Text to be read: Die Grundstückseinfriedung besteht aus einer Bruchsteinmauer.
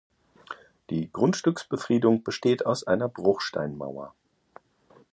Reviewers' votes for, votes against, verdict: 0, 2, rejected